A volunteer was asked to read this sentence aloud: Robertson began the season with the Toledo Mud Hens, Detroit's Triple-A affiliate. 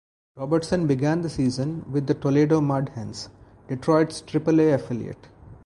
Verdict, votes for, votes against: accepted, 4, 0